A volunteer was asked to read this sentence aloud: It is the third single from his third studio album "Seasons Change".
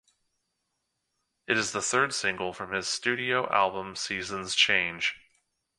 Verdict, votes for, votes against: rejected, 1, 2